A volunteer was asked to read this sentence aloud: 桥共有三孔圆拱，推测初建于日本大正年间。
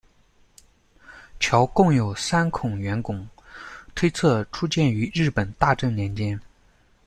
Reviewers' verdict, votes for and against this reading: accepted, 2, 0